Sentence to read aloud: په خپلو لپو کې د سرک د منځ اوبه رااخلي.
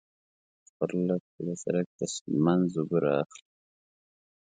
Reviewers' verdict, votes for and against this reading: rejected, 0, 2